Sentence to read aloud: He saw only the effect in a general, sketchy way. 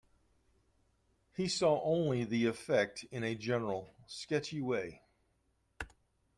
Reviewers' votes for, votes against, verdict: 2, 0, accepted